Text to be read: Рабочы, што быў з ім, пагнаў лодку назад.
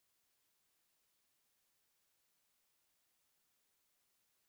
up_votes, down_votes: 0, 3